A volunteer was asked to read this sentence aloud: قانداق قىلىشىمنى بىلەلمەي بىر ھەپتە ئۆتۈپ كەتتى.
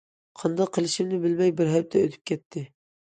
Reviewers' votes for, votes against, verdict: 1, 2, rejected